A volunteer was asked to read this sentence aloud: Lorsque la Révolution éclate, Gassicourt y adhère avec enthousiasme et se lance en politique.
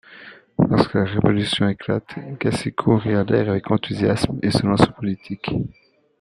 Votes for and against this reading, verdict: 2, 1, accepted